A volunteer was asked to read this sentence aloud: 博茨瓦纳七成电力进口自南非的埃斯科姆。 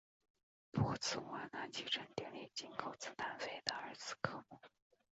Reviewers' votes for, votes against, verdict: 0, 2, rejected